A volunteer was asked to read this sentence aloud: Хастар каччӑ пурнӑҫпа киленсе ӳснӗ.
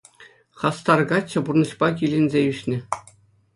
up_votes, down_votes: 2, 0